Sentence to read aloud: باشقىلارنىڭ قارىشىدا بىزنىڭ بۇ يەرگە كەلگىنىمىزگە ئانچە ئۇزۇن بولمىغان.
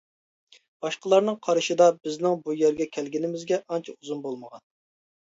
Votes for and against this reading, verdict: 2, 0, accepted